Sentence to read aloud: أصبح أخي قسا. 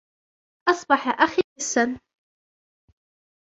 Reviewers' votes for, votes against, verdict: 1, 2, rejected